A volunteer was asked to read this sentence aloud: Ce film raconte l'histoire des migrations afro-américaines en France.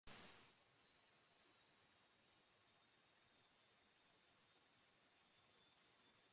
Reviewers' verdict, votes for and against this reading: rejected, 0, 2